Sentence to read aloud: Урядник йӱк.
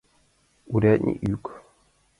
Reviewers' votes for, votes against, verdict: 2, 1, accepted